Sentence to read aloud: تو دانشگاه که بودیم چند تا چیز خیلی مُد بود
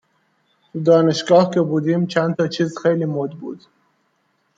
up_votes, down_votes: 2, 0